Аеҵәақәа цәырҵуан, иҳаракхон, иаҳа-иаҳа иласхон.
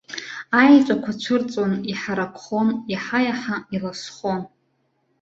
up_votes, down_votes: 2, 0